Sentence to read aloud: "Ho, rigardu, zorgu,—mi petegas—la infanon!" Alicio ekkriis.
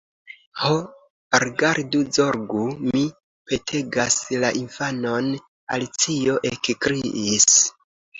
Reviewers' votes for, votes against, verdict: 2, 0, accepted